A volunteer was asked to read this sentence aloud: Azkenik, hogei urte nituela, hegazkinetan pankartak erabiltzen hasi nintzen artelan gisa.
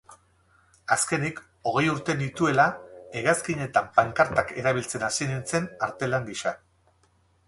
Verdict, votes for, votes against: rejected, 2, 2